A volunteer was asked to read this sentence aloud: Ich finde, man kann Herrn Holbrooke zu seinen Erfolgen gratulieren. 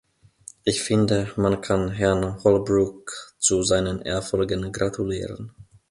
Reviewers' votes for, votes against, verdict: 2, 0, accepted